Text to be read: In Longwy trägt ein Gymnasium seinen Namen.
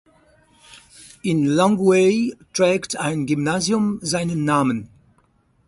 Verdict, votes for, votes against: rejected, 2, 4